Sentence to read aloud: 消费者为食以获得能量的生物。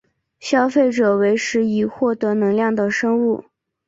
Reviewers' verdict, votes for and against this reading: accepted, 3, 0